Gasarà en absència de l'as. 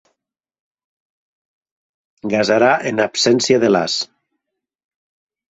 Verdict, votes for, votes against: accepted, 3, 0